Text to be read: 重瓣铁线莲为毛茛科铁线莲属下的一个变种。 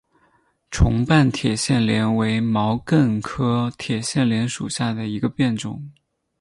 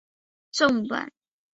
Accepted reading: first